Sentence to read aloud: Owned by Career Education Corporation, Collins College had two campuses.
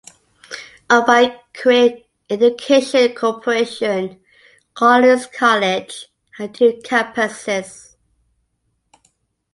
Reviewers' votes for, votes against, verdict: 2, 0, accepted